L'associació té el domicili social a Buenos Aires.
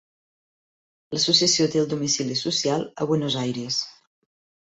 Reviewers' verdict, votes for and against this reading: accepted, 3, 0